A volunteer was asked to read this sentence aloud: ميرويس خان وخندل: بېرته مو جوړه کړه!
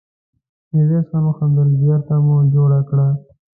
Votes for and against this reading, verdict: 1, 2, rejected